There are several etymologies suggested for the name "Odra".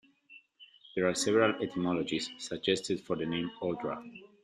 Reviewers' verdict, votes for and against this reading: accepted, 2, 0